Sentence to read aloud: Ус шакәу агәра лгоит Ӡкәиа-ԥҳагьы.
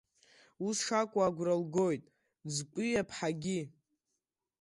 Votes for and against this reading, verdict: 1, 3, rejected